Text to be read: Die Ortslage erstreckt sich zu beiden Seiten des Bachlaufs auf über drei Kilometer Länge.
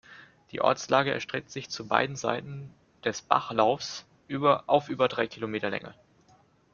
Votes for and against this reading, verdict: 1, 2, rejected